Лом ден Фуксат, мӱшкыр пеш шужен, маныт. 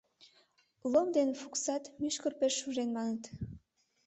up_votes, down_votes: 2, 0